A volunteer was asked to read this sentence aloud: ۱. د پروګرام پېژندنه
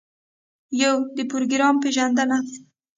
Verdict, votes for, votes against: rejected, 0, 2